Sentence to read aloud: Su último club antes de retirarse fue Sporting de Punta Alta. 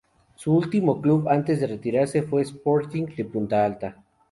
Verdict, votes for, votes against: accepted, 2, 0